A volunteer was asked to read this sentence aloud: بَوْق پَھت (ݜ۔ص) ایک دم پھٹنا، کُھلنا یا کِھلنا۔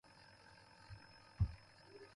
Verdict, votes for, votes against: rejected, 0, 2